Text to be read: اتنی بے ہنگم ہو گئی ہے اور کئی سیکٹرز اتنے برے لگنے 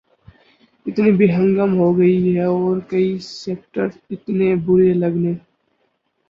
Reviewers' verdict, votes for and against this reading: accepted, 10, 0